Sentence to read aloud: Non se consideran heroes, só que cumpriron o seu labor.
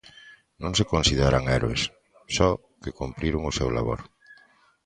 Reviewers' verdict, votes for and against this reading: accepted, 2, 0